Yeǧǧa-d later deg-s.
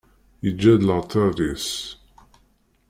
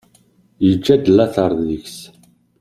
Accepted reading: second